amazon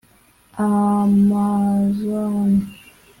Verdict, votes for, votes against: rejected, 0, 2